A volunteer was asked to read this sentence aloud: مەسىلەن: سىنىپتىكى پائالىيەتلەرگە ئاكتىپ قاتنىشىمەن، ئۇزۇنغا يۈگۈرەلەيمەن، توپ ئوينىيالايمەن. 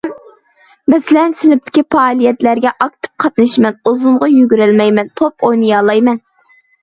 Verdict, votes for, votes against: rejected, 1, 2